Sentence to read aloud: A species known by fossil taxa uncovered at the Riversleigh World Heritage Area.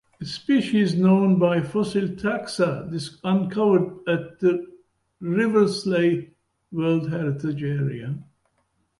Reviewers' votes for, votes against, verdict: 0, 2, rejected